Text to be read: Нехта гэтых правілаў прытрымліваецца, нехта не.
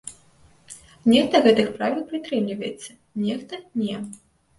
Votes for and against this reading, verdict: 0, 2, rejected